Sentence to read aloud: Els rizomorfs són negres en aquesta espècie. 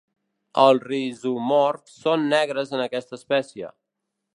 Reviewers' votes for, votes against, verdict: 1, 2, rejected